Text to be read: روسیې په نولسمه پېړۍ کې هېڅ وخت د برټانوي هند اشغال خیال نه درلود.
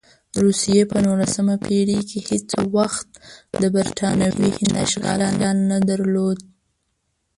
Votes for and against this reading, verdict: 1, 2, rejected